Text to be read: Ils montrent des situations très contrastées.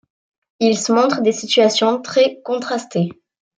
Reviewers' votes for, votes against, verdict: 1, 2, rejected